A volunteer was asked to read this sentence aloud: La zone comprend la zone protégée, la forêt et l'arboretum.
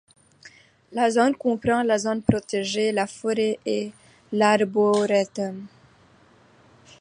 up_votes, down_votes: 2, 0